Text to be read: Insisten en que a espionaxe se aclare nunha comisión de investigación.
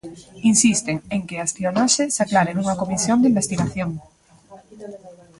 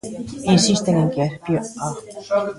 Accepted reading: first